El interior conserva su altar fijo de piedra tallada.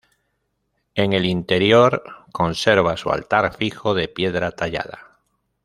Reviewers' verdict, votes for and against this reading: rejected, 1, 2